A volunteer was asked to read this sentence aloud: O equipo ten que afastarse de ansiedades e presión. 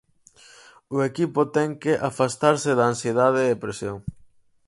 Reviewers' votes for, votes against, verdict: 2, 4, rejected